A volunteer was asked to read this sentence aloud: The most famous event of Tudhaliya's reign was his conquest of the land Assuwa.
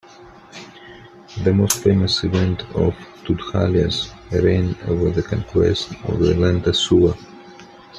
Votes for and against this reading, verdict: 2, 1, accepted